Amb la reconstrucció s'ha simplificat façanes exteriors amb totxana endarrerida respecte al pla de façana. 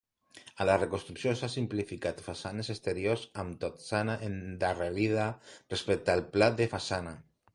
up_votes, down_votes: 1, 2